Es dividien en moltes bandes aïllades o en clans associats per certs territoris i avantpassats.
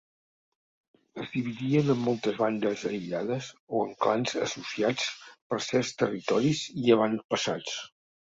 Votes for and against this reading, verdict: 3, 1, accepted